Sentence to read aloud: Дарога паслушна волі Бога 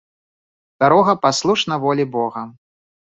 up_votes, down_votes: 2, 0